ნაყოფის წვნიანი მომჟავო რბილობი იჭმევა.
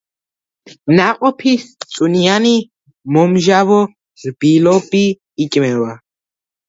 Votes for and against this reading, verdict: 1, 2, rejected